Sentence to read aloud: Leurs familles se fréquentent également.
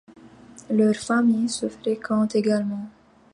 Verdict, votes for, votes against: accepted, 2, 1